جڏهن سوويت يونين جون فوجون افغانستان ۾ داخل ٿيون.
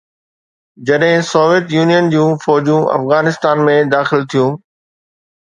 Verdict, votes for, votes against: accepted, 2, 0